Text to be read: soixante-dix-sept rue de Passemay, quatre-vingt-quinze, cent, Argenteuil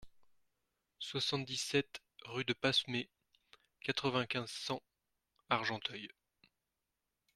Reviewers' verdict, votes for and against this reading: accepted, 2, 0